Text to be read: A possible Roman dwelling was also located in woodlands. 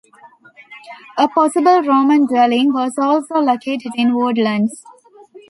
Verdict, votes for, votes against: rejected, 1, 2